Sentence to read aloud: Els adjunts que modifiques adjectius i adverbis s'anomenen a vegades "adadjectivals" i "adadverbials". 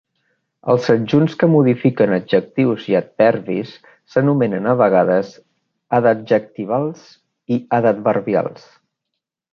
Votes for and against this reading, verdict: 2, 1, accepted